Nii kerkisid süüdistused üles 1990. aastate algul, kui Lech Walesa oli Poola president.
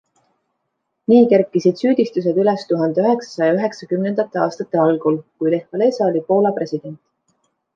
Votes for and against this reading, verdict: 0, 2, rejected